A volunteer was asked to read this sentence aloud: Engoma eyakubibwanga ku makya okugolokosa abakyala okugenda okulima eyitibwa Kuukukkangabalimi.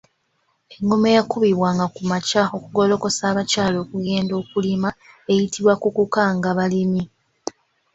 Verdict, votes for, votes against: accepted, 2, 0